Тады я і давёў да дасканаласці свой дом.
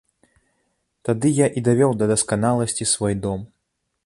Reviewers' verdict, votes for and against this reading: accepted, 2, 0